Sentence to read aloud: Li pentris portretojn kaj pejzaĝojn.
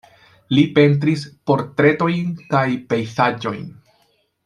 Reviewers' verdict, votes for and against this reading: accepted, 2, 0